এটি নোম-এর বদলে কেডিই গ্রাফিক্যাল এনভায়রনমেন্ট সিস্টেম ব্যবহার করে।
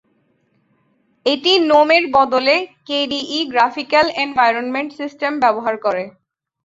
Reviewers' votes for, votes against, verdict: 2, 0, accepted